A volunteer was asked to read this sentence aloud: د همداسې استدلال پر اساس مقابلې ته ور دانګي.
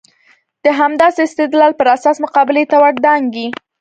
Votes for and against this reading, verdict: 0, 2, rejected